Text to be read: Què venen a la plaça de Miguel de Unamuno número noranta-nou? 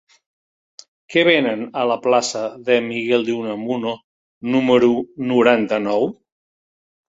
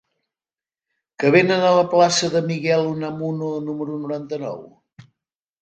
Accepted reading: first